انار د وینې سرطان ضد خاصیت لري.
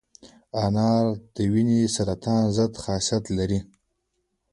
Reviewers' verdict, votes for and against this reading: accepted, 2, 1